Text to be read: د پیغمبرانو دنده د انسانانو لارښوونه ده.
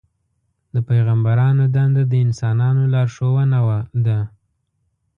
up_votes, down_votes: 1, 2